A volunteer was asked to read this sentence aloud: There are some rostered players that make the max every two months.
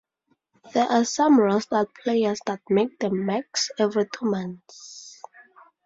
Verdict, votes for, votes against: accepted, 2, 0